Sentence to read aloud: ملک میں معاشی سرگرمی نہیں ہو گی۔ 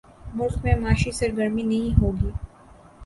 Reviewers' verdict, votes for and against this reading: accepted, 3, 1